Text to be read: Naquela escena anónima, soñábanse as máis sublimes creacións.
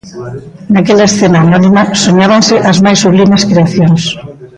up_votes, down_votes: 0, 2